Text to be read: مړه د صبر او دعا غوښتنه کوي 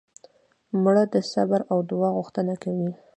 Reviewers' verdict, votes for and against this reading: rejected, 1, 2